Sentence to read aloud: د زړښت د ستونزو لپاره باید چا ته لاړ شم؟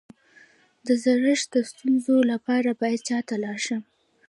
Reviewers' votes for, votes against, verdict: 1, 2, rejected